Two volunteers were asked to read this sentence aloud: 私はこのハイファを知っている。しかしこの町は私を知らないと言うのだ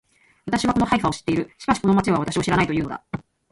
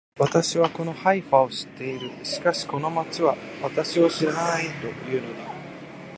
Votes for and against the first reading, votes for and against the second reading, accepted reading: 1, 2, 2, 0, second